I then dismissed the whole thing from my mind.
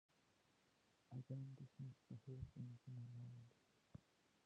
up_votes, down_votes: 0, 2